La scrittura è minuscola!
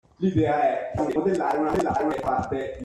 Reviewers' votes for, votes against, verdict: 0, 2, rejected